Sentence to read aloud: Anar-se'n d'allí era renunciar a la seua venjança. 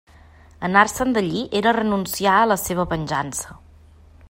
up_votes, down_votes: 2, 0